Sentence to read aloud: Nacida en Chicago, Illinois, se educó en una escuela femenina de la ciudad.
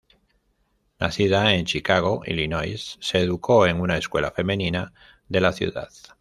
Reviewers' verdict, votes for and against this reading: rejected, 1, 2